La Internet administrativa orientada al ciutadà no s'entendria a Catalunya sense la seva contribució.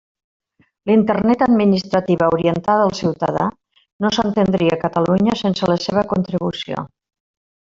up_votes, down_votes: 0, 2